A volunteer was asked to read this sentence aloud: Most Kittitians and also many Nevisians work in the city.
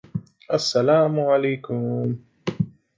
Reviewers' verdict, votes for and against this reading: rejected, 0, 2